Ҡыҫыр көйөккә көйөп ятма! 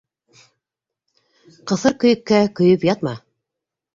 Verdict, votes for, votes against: accepted, 2, 0